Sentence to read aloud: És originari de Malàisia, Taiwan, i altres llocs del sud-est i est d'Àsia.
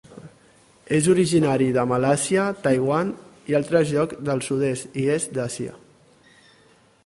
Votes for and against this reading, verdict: 1, 2, rejected